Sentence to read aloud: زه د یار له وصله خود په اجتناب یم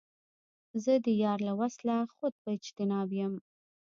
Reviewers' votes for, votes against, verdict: 0, 2, rejected